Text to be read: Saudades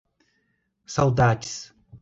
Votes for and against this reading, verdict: 2, 0, accepted